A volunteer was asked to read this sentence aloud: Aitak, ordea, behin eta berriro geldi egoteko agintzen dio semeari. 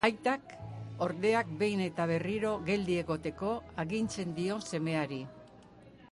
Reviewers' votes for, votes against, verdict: 2, 0, accepted